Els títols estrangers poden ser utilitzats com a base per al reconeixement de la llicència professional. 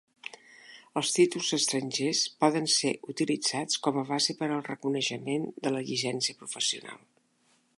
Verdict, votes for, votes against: rejected, 1, 2